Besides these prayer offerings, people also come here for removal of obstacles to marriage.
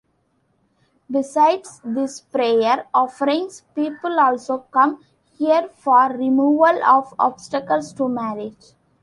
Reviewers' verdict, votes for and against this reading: accepted, 2, 1